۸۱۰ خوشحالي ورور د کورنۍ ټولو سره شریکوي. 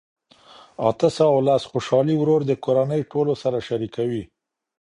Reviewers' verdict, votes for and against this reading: rejected, 0, 2